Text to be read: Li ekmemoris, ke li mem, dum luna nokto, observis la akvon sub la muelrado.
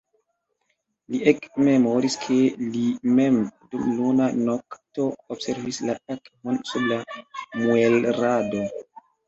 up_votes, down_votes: 2, 0